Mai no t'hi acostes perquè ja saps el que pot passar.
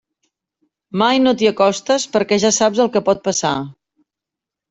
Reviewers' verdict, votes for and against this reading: accepted, 3, 0